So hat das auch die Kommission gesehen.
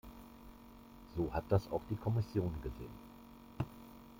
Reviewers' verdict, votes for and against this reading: accepted, 2, 0